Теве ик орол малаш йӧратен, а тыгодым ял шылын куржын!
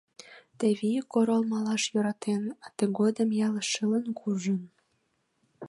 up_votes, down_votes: 2, 0